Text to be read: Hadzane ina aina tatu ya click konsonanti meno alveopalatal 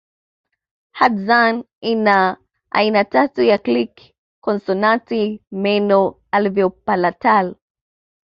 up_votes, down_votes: 2, 0